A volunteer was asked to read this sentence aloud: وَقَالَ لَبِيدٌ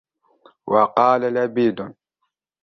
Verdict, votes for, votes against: rejected, 1, 2